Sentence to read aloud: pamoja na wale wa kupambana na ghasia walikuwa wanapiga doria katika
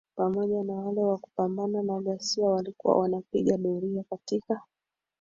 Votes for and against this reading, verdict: 0, 2, rejected